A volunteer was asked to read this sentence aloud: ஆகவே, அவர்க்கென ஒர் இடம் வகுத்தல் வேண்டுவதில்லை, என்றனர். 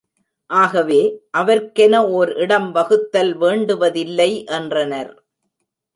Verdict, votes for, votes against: accepted, 2, 0